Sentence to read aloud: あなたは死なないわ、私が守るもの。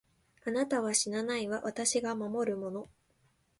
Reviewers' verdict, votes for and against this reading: accepted, 2, 0